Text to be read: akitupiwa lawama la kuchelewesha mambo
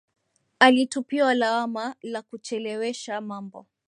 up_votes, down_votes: 1, 2